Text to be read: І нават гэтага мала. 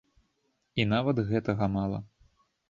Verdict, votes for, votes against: accepted, 2, 0